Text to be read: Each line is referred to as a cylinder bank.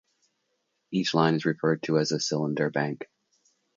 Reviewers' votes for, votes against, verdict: 2, 0, accepted